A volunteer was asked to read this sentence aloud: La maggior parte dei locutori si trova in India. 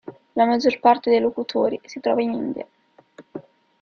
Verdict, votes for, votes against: accepted, 2, 0